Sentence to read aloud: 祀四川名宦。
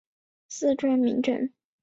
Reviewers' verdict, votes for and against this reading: rejected, 1, 2